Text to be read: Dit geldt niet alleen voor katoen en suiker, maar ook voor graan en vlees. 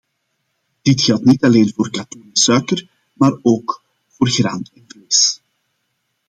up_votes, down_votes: 0, 2